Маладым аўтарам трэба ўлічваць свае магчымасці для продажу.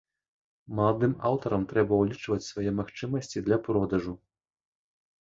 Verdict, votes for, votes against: accepted, 2, 0